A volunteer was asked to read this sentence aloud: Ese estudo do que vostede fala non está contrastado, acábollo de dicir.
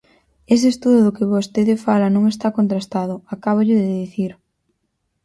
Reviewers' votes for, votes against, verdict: 4, 0, accepted